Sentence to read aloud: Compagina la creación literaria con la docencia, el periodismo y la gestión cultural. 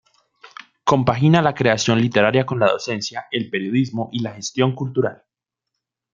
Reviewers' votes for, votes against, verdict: 2, 0, accepted